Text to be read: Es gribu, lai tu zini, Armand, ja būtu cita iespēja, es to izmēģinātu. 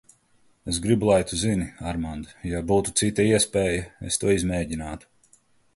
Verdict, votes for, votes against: accepted, 2, 0